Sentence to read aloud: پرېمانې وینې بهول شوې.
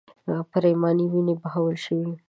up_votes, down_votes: 1, 2